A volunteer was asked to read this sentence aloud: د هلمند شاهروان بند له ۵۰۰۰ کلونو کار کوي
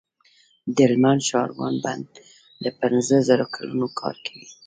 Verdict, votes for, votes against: rejected, 0, 2